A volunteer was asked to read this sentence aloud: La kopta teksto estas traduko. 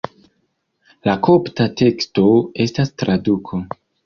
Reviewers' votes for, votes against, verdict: 1, 2, rejected